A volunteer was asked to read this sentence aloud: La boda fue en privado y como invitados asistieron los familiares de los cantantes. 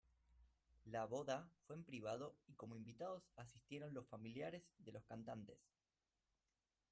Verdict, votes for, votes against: rejected, 0, 2